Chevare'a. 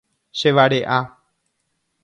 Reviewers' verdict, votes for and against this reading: accepted, 2, 0